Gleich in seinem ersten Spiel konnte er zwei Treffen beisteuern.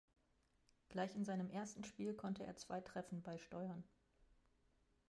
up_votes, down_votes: 0, 2